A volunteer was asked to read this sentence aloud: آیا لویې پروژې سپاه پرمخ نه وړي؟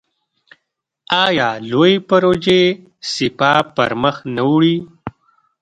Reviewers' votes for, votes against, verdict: 2, 0, accepted